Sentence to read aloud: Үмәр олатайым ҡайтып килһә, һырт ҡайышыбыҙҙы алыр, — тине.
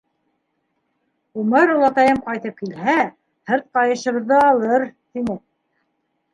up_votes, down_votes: 2, 1